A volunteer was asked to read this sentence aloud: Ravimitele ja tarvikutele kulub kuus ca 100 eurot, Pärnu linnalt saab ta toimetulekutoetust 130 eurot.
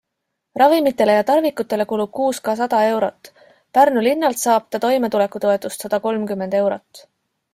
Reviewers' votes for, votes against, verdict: 0, 2, rejected